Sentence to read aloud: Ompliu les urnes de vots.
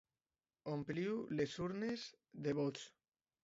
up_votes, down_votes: 2, 0